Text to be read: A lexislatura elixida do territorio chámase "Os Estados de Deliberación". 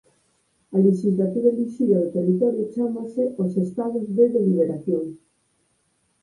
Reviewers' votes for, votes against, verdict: 0, 4, rejected